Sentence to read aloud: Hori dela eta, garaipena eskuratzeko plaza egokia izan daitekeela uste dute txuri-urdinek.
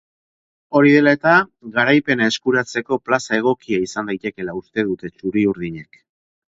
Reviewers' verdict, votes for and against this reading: rejected, 2, 2